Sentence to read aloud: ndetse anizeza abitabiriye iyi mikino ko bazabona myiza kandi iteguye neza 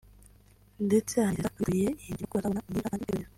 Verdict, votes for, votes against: rejected, 0, 2